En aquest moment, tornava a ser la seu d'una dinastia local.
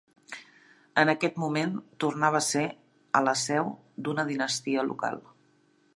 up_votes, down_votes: 1, 2